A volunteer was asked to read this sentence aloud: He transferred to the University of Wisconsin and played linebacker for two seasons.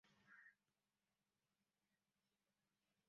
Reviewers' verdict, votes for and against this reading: rejected, 1, 2